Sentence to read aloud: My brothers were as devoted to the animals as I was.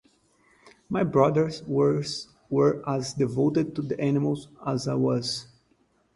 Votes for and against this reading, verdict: 0, 4, rejected